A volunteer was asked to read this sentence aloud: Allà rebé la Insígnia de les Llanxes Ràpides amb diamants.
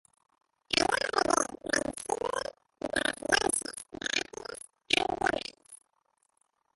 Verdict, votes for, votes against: rejected, 0, 2